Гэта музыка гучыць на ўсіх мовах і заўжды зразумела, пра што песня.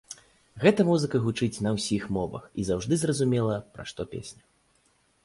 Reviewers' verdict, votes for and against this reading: accepted, 2, 0